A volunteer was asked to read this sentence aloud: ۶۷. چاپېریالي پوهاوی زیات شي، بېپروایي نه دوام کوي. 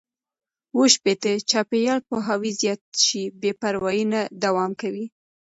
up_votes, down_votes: 0, 2